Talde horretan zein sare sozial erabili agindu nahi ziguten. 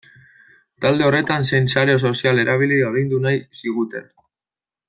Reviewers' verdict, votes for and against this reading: rejected, 1, 2